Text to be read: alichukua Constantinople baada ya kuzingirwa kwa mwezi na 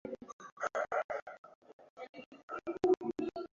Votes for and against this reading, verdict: 0, 2, rejected